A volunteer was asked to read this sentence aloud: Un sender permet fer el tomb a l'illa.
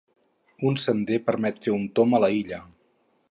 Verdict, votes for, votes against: rejected, 0, 2